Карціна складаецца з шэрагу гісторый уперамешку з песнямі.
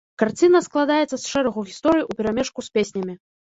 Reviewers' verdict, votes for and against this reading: rejected, 1, 2